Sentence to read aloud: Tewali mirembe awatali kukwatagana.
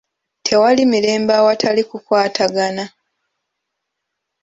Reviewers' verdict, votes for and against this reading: accepted, 2, 0